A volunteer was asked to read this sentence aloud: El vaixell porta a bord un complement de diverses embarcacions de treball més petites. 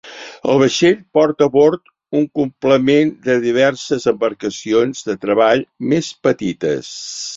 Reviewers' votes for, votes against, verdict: 2, 0, accepted